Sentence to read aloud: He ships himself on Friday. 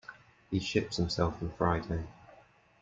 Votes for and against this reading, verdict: 2, 0, accepted